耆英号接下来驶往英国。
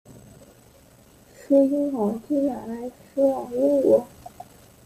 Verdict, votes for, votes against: rejected, 0, 2